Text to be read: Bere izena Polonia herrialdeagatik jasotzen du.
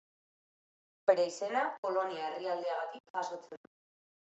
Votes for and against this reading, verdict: 2, 1, accepted